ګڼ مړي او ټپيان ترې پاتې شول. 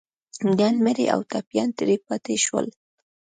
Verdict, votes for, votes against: accepted, 2, 1